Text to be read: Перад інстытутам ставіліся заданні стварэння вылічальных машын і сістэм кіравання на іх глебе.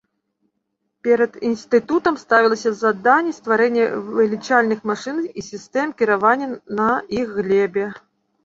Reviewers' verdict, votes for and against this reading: rejected, 0, 2